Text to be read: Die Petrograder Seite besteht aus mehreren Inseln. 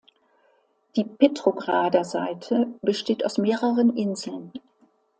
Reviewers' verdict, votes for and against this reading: accepted, 2, 0